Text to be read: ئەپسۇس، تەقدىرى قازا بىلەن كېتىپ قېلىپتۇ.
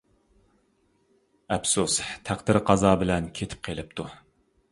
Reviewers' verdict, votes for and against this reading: accepted, 2, 0